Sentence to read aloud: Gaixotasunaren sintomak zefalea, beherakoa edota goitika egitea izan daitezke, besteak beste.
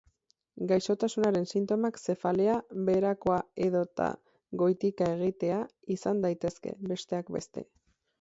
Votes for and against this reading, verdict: 4, 0, accepted